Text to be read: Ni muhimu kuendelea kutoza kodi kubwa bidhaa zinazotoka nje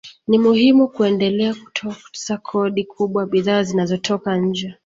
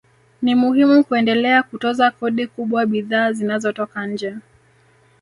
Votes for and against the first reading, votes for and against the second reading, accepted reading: 2, 0, 0, 2, first